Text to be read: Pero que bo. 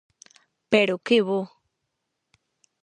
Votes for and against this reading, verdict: 4, 0, accepted